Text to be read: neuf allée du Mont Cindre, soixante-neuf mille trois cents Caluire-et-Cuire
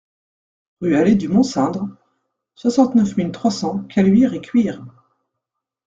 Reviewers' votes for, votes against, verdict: 1, 2, rejected